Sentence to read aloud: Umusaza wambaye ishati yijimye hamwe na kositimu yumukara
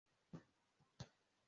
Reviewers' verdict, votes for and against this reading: rejected, 0, 2